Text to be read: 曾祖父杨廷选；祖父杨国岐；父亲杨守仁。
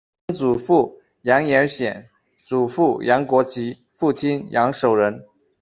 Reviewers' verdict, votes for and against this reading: rejected, 1, 2